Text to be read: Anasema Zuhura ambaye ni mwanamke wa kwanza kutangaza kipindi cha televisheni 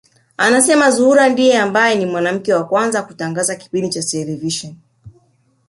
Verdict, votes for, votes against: rejected, 1, 2